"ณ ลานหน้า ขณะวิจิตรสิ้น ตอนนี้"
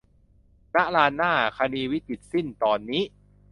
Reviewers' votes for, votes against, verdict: 0, 2, rejected